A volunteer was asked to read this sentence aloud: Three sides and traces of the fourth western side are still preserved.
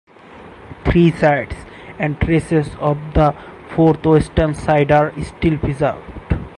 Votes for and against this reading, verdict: 2, 2, rejected